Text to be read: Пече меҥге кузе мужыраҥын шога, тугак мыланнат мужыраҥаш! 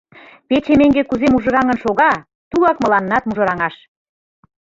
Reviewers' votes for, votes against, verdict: 2, 0, accepted